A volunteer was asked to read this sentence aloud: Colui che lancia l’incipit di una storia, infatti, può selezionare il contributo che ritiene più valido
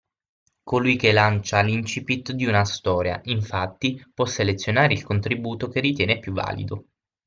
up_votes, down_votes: 6, 0